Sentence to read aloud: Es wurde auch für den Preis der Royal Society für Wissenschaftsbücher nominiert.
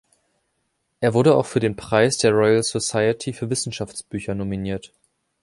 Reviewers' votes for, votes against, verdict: 2, 1, accepted